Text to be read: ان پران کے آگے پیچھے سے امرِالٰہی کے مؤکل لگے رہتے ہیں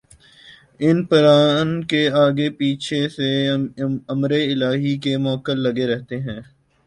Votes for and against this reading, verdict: 3, 0, accepted